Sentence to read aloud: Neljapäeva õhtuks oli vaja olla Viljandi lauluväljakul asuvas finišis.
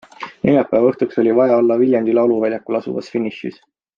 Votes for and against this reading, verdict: 2, 0, accepted